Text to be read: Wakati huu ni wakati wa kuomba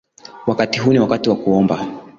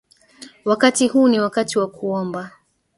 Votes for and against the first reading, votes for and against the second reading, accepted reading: 2, 0, 1, 2, first